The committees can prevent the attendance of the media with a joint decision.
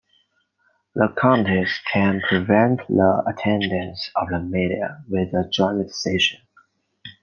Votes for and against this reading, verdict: 2, 1, accepted